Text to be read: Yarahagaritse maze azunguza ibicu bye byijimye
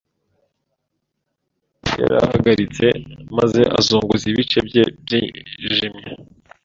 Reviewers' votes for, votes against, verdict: 1, 2, rejected